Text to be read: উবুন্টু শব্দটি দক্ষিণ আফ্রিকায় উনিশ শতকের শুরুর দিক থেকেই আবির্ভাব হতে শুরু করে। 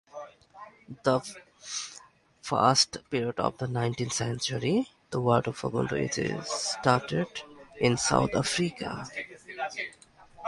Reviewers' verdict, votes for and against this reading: rejected, 0, 2